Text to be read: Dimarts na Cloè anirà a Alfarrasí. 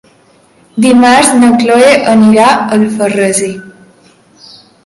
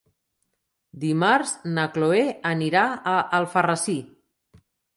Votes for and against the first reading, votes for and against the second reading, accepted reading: 1, 2, 3, 0, second